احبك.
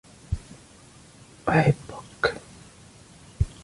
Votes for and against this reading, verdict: 2, 1, accepted